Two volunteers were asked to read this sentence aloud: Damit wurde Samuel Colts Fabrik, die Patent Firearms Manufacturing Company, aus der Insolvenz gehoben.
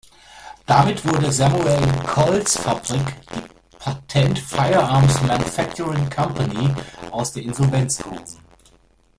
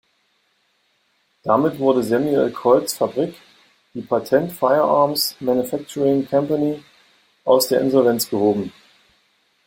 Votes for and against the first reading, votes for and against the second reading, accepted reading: 1, 2, 2, 0, second